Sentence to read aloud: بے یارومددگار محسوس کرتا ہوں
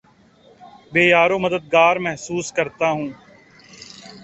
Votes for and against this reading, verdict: 2, 0, accepted